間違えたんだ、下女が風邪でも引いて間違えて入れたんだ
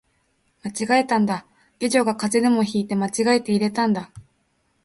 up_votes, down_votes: 2, 0